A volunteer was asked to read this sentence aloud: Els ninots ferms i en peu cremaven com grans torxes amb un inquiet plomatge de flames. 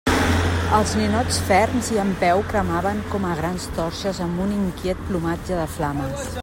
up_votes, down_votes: 0, 2